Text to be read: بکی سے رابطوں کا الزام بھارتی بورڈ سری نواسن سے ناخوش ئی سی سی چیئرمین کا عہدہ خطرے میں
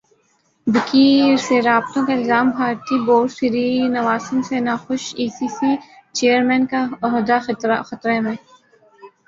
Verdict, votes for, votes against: rejected, 0, 2